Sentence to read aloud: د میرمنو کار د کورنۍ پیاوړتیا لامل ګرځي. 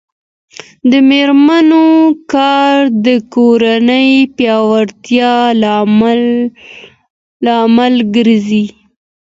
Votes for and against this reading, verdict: 2, 0, accepted